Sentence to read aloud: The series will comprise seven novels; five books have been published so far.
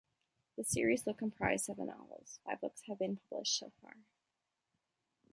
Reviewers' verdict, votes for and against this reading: rejected, 1, 2